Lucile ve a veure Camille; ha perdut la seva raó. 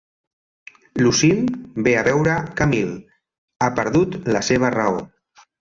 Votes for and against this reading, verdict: 2, 0, accepted